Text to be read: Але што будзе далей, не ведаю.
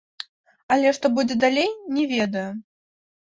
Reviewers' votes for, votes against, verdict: 0, 2, rejected